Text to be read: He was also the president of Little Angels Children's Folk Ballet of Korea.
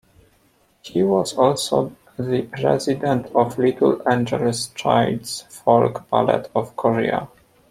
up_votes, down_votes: 0, 2